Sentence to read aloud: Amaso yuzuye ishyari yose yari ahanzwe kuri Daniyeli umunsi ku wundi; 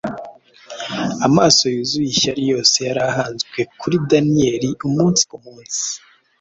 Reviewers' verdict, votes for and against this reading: rejected, 1, 2